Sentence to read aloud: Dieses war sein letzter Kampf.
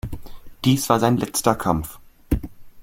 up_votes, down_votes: 0, 2